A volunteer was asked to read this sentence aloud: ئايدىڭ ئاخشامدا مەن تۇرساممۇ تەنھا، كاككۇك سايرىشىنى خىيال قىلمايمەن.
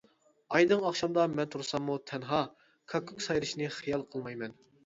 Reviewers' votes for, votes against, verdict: 3, 0, accepted